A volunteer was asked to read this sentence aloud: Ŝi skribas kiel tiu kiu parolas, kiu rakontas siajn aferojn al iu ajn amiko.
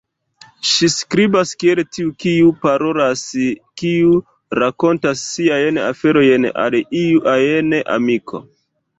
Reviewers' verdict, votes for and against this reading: rejected, 1, 2